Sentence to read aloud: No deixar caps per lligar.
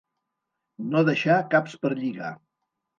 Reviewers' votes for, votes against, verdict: 2, 0, accepted